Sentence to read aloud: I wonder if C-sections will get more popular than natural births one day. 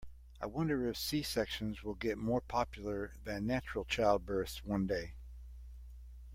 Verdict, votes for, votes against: rejected, 1, 2